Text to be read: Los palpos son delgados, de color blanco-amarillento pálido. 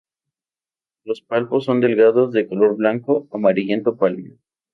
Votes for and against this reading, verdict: 2, 0, accepted